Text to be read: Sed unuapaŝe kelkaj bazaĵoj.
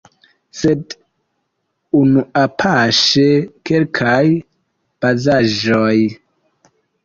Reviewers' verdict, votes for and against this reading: accepted, 2, 0